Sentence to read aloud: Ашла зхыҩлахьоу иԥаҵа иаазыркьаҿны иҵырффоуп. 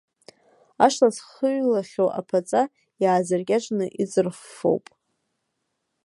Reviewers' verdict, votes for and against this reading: rejected, 1, 2